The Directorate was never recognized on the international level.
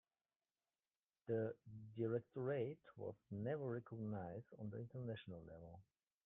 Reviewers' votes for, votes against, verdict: 2, 1, accepted